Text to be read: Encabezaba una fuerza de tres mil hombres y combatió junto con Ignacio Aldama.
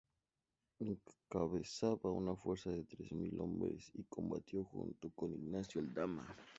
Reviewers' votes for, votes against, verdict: 2, 0, accepted